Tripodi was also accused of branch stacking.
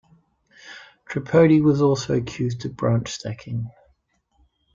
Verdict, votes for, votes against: accepted, 2, 0